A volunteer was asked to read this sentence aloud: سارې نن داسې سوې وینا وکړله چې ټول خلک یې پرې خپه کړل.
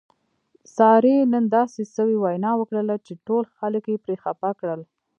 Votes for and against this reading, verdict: 2, 1, accepted